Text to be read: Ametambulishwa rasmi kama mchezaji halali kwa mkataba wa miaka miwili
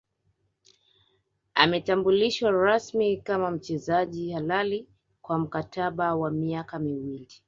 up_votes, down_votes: 1, 2